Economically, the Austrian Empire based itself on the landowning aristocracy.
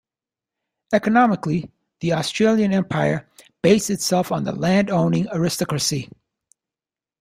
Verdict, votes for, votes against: rejected, 1, 2